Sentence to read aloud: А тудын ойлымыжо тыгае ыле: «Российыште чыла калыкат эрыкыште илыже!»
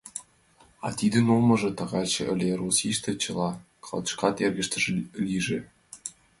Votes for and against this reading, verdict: 0, 2, rejected